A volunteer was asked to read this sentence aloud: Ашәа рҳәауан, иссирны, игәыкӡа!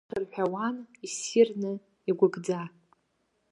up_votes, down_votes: 0, 2